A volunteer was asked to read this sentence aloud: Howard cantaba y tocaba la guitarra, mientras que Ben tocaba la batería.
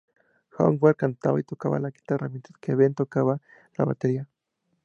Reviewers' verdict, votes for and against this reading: accepted, 2, 0